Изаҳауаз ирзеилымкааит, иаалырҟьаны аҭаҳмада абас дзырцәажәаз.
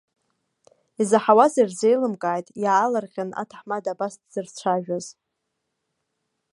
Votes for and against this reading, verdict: 2, 0, accepted